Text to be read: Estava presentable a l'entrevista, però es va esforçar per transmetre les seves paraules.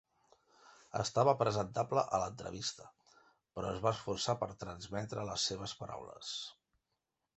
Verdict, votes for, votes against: accepted, 3, 0